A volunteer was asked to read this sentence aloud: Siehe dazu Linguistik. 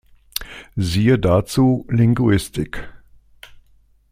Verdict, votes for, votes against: accepted, 2, 0